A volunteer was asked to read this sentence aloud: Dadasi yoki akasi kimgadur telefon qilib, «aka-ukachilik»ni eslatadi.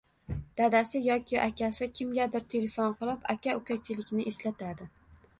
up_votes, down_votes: 1, 2